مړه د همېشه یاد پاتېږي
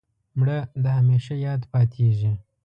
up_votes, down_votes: 2, 0